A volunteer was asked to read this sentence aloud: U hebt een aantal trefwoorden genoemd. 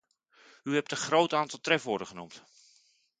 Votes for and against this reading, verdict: 1, 2, rejected